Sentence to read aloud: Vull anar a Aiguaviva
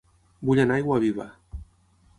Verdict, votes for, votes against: accepted, 6, 0